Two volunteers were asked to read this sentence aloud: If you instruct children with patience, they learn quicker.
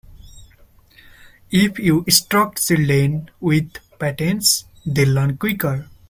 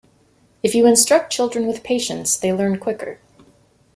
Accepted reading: second